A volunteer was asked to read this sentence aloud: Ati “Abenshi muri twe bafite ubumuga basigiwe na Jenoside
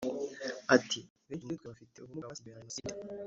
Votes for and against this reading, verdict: 0, 2, rejected